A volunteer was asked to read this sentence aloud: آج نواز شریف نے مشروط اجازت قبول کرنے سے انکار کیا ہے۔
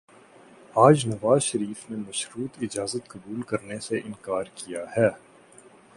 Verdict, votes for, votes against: accepted, 2, 0